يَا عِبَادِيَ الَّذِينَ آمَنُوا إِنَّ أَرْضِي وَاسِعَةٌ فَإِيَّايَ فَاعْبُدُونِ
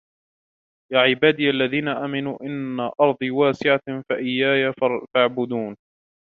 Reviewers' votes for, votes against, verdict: 0, 2, rejected